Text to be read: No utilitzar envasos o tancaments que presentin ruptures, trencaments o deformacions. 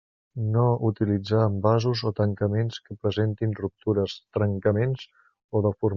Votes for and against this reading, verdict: 0, 2, rejected